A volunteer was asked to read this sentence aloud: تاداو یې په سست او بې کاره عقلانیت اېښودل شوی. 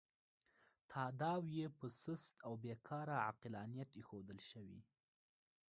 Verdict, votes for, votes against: rejected, 0, 2